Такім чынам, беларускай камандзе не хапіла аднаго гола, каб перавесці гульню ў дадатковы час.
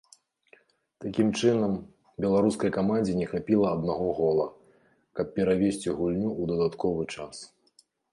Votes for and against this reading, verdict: 2, 0, accepted